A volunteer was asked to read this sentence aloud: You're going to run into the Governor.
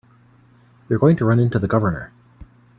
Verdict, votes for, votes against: accepted, 2, 1